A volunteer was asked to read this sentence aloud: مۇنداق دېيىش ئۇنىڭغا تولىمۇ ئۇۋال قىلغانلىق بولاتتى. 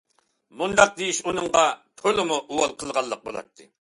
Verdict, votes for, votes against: accepted, 2, 0